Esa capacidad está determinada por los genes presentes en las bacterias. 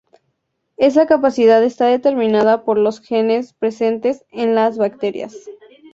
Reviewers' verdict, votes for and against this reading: accepted, 2, 0